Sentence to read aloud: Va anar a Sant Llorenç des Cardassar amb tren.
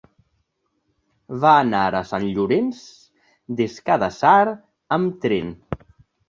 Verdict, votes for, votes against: rejected, 0, 2